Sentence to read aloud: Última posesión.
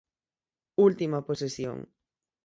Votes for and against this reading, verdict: 6, 3, accepted